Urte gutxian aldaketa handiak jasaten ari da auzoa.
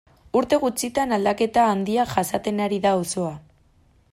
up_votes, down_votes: 0, 2